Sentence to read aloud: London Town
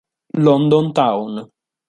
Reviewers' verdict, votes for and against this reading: accepted, 2, 0